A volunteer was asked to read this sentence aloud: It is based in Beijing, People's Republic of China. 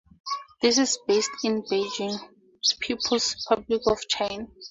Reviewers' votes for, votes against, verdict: 2, 0, accepted